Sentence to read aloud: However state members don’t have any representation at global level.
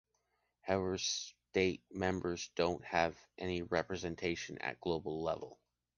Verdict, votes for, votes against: rejected, 1, 2